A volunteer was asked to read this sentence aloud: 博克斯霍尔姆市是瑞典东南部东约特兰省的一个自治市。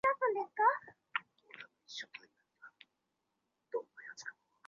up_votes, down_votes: 1, 2